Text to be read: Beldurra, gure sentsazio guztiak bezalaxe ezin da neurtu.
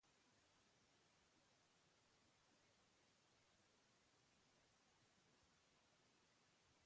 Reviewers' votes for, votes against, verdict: 0, 2, rejected